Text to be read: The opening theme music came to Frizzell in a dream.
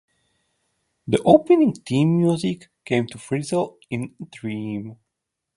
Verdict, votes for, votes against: accepted, 2, 0